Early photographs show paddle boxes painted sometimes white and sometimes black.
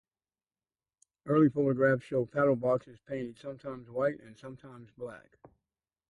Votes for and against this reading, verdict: 2, 4, rejected